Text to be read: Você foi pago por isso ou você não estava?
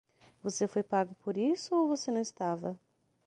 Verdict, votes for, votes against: accepted, 6, 0